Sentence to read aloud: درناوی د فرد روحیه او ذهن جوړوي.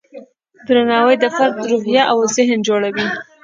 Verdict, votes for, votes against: rejected, 1, 2